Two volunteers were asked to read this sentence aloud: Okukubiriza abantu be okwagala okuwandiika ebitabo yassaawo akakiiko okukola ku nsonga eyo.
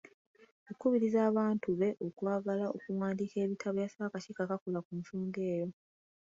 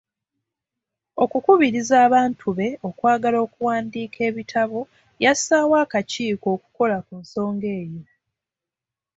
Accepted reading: second